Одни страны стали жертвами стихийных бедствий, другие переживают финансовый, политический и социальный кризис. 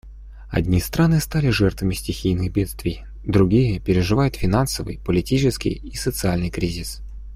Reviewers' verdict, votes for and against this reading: accepted, 2, 0